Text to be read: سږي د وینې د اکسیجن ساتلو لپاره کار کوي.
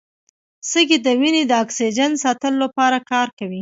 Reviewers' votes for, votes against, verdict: 2, 0, accepted